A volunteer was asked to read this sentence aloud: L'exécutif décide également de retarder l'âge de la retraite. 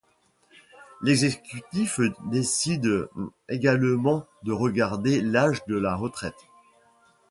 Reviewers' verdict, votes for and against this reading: rejected, 0, 2